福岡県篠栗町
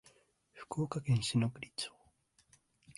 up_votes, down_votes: 2, 0